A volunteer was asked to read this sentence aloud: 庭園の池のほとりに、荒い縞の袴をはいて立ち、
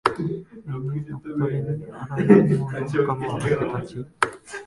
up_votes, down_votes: 0, 2